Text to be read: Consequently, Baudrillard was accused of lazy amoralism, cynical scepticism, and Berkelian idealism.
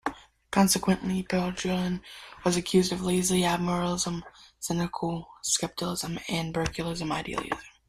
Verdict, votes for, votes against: rejected, 1, 2